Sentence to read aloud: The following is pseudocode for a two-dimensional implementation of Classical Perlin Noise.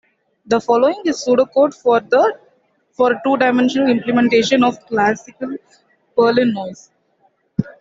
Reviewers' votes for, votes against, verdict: 2, 1, accepted